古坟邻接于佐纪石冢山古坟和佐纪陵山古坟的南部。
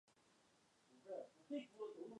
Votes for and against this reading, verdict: 0, 3, rejected